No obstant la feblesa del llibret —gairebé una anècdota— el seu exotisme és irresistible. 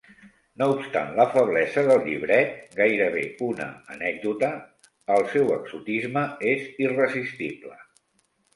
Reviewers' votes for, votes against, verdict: 2, 0, accepted